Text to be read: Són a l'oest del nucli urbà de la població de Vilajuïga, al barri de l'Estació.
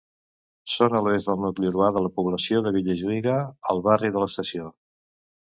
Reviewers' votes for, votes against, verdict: 0, 2, rejected